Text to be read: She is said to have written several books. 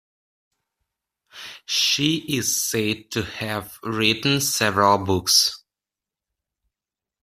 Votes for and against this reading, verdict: 2, 0, accepted